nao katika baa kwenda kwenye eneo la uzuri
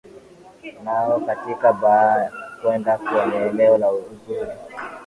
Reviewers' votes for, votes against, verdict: 4, 0, accepted